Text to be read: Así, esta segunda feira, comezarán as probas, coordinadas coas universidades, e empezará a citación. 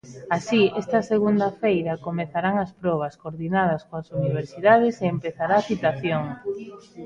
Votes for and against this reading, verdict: 1, 2, rejected